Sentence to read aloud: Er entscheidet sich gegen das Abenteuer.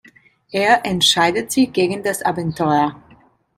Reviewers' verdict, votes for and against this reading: accepted, 2, 0